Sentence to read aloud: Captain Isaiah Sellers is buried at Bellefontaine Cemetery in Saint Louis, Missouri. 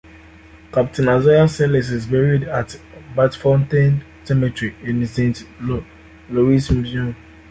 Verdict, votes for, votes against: rejected, 1, 2